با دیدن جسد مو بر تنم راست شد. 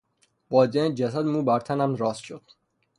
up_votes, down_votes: 0, 3